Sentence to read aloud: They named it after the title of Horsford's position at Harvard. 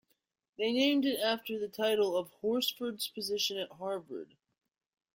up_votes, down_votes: 1, 2